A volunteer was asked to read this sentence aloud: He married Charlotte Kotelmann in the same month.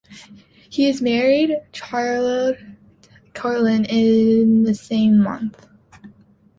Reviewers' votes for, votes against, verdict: 0, 2, rejected